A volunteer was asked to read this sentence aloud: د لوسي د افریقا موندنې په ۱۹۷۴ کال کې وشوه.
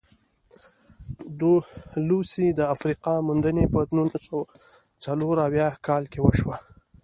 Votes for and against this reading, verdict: 0, 2, rejected